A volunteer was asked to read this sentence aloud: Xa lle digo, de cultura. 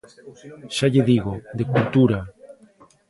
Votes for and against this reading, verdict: 2, 1, accepted